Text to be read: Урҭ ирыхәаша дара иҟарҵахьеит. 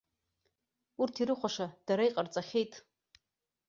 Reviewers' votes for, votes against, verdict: 2, 0, accepted